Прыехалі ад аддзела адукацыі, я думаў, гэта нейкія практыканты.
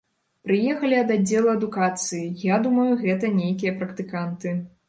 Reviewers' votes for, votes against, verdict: 1, 2, rejected